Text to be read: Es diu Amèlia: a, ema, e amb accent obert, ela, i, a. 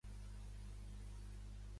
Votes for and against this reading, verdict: 0, 2, rejected